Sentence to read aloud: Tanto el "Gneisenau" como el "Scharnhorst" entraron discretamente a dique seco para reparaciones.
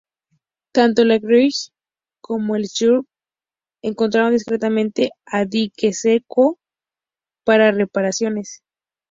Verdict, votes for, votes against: rejected, 0, 2